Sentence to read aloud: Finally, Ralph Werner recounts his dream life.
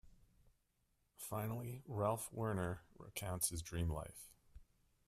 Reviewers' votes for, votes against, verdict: 0, 2, rejected